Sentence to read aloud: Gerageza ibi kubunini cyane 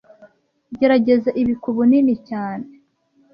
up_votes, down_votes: 2, 0